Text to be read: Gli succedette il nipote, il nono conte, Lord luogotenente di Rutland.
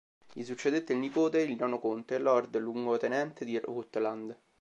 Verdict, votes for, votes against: accepted, 2, 0